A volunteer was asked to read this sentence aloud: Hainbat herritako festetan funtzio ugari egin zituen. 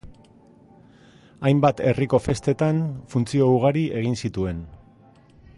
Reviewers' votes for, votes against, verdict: 1, 2, rejected